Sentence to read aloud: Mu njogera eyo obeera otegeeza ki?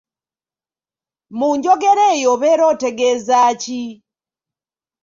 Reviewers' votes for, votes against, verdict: 1, 2, rejected